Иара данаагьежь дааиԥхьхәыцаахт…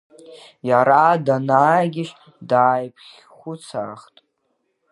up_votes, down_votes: 0, 2